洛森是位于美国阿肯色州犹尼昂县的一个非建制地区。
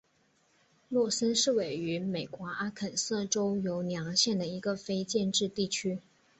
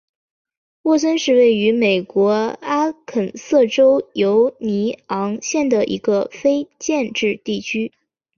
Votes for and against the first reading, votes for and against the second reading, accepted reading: 2, 0, 0, 2, first